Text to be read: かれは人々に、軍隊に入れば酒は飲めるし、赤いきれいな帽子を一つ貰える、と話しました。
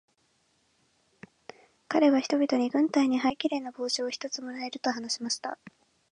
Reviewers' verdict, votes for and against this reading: rejected, 0, 2